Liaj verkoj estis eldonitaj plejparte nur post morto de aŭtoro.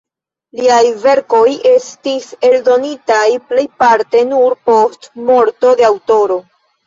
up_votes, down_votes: 0, 2